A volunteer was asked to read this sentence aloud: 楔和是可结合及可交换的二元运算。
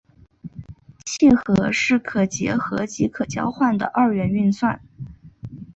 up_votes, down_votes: 2, 0